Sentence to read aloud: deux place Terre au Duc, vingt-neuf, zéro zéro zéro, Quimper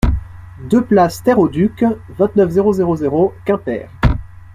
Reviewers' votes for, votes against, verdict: 2, 0, accepted